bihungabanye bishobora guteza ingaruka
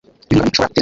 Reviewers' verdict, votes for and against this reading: rejected, 0, 2